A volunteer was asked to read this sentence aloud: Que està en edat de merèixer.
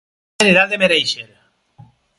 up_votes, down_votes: 0, 4